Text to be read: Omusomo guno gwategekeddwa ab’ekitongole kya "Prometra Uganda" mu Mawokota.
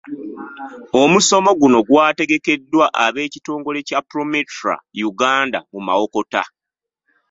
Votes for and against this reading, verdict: 1, 2, rejected